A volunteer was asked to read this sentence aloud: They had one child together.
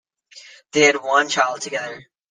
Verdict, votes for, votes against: accepted, 2, 0